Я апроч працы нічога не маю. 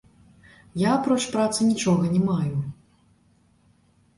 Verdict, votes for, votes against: accepted, 2, 0